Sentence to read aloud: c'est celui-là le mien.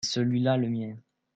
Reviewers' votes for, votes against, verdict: 1, 2, rejected